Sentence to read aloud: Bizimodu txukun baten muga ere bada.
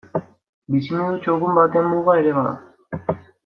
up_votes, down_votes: 1, 2